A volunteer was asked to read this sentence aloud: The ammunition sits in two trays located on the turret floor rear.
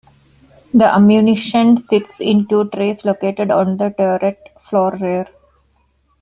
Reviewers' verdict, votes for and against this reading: accepted, 2, 0